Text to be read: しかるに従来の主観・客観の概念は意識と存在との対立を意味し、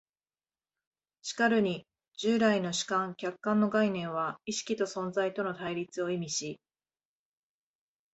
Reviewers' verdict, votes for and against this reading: accepted, 3, 0